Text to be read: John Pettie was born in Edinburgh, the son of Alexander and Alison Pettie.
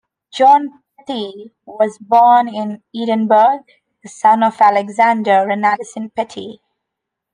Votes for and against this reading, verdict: 1, 2, rejected